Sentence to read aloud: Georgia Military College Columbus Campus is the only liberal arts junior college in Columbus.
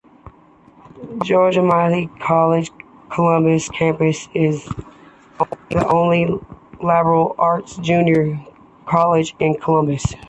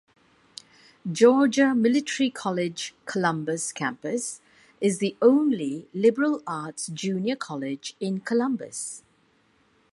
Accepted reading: second